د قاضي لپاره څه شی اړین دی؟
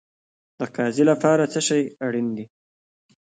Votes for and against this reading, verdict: 2, 1, accepted